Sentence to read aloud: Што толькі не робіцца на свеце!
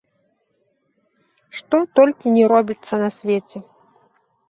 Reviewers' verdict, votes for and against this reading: accepted, 2, 0